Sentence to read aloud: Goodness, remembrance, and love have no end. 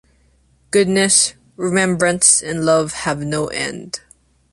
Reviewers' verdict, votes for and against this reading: accepted, 2, 0